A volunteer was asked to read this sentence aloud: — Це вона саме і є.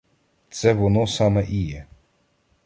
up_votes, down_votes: 1, 2